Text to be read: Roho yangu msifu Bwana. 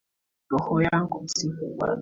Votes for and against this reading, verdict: 2, 0, accepted